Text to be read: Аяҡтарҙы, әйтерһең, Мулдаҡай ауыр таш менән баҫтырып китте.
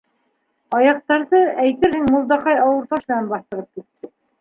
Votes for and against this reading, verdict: 0, 2, rejected